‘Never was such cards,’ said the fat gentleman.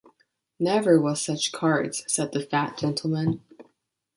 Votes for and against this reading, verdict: 0, 2, rejected